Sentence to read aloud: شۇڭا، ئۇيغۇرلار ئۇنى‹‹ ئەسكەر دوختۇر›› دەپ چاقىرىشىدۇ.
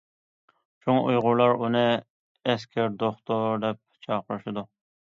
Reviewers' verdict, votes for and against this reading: rejected, 1, 2